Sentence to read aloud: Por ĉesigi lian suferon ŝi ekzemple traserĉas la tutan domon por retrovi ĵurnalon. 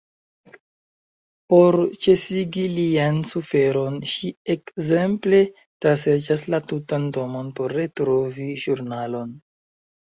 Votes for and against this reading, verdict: 2, 1, accepted